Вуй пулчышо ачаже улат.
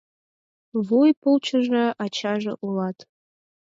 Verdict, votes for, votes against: accepted, 4, 2